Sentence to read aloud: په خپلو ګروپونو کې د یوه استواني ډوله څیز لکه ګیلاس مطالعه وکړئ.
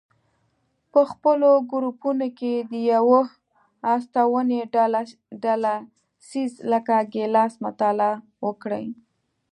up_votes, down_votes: 1, 2